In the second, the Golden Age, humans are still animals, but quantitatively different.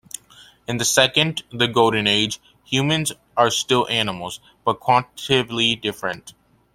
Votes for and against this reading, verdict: 2, 1, accepted